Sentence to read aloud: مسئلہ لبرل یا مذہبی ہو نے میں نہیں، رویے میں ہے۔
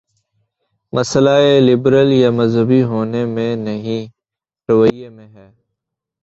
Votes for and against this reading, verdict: 0, 2, rejected